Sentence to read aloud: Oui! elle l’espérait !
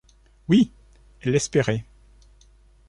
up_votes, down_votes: 1, 2